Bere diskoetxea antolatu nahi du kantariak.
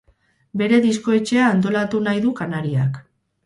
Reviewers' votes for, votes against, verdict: 0, 2, rejected